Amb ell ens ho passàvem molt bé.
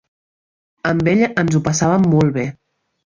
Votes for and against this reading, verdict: 2, 0, accepted